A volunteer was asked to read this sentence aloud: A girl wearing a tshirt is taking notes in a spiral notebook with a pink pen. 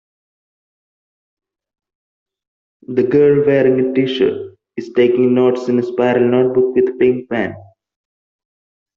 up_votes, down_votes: 0, 2